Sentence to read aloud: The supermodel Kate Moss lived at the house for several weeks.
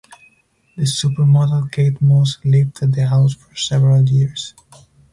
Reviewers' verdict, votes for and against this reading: rejected, 0, 4